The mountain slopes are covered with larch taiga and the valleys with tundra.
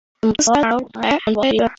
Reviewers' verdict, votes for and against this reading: rejected, 0, 2